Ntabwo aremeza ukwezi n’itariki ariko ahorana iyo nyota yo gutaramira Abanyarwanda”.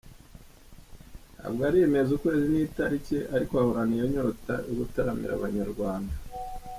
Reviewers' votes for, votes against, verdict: 0, 2, rejected